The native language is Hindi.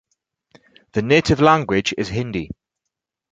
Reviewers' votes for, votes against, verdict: 4, 0, accepted